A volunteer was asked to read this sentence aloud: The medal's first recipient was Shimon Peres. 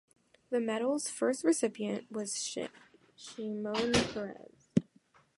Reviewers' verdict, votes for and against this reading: rejected, 0, 2